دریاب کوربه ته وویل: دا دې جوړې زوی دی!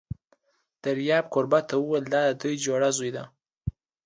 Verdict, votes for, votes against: accepted, 2, 0